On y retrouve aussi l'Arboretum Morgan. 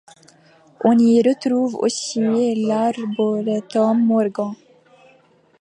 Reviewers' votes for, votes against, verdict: 1, 2, rejected